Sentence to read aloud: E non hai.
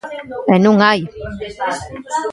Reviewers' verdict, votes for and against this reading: rejected, 1, 2